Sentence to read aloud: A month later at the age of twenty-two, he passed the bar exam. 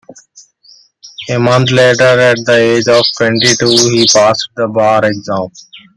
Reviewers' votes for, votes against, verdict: 0, 2, rejected